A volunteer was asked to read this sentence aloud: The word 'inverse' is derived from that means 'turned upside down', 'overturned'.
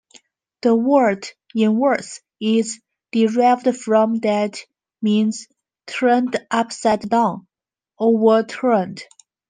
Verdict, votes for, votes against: rejected, 1, 2